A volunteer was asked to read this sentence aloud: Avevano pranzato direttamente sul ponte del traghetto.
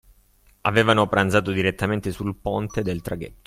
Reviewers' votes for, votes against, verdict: 2, 1, accepted